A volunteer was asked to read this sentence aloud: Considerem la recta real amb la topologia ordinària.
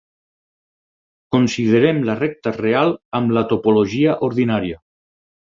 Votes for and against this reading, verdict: 6, 0, accepted